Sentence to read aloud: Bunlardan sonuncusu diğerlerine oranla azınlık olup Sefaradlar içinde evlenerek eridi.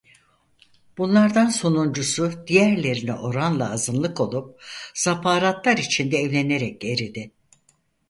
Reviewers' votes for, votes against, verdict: 0, 4, rejected